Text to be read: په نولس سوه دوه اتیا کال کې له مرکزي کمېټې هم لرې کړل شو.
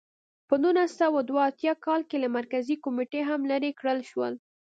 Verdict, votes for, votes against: accepted, 2, 0